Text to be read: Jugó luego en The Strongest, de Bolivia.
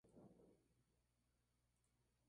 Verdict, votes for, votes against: rejected, 0, 2